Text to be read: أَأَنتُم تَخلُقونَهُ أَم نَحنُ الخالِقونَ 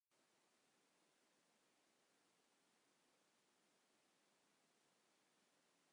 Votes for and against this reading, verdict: 1, 2, rejected